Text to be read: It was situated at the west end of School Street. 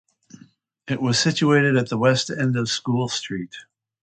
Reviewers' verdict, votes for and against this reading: accepted, 2, 0